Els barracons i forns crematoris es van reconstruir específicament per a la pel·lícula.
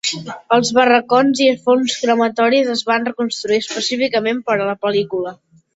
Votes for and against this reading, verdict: 2, 0, accepted